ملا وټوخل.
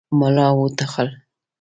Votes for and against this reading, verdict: 2, 0, accepted